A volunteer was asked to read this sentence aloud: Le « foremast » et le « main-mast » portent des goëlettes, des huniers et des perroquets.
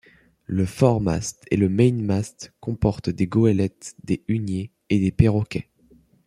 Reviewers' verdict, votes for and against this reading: rejected, 0, 2